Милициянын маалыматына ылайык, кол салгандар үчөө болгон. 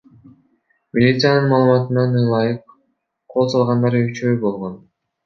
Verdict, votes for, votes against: rejected, 0, 2